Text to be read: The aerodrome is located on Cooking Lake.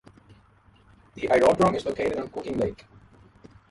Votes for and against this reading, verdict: 0, 2, rejected